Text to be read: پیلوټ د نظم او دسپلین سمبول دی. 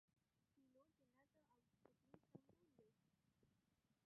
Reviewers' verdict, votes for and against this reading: rejected, 1, 2